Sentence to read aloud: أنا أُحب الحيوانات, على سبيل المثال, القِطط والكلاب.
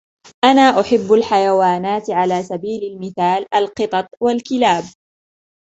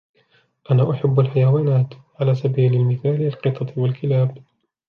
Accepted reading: first